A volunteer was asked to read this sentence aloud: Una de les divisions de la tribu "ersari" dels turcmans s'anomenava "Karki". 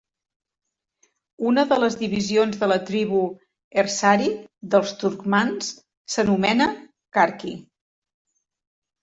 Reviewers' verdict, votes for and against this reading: rejected, 0, 2